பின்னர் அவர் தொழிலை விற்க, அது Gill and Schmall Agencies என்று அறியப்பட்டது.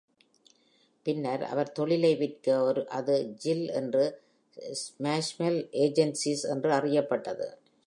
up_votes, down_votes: 0, 2